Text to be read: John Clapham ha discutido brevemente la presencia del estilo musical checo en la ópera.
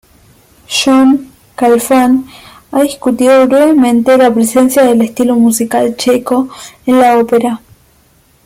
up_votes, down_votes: 2, 1